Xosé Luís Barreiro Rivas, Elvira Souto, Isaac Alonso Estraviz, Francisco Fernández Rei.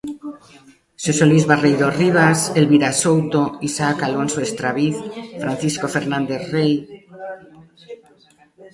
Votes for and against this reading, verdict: 2, 1, accepted